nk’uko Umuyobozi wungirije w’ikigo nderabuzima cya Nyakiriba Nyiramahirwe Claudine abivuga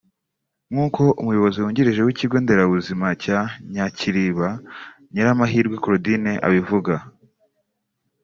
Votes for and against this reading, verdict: 3, 0, accepted